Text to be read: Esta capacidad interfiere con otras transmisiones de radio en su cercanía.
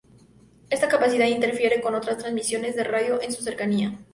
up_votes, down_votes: 0, 2